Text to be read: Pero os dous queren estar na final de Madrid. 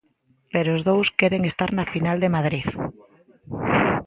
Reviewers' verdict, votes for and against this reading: accepted, 2, 0